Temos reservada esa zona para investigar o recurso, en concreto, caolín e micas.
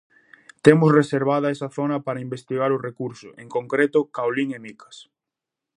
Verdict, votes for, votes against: accepted, 2, 0